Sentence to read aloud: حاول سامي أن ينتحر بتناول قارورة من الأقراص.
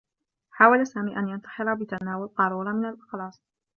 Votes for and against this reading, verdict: 0, 2, rejected